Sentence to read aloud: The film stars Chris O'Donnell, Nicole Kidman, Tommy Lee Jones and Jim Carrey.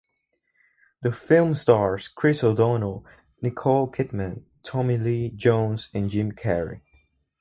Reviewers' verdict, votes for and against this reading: accepted, 4, 0